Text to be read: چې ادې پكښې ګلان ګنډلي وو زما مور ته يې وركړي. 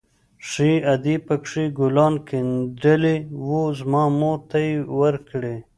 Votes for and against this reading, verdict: 1, 2, rejected